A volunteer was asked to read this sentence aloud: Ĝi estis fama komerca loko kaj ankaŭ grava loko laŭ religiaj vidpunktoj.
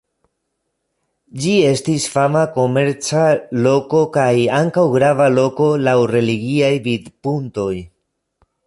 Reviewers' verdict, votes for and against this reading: rejected, 0, 2